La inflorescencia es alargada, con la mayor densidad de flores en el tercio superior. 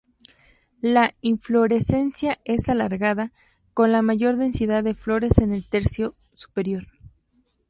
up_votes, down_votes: 2, 0